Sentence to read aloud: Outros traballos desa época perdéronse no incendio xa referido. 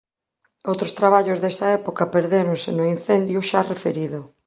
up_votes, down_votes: 6, 1